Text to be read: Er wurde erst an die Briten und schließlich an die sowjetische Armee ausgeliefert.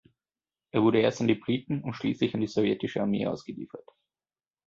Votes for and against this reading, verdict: 2, 0, accepted